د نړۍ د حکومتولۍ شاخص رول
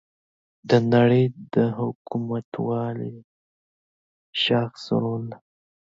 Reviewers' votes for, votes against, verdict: 1, 2, rejected